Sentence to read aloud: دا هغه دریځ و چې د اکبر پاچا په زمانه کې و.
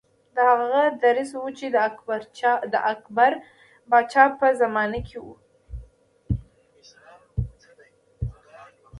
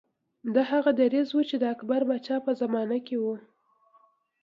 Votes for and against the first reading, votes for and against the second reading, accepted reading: 0, 2, 2, 0, second